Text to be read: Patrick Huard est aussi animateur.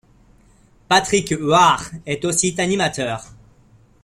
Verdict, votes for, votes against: accepted, 2, 1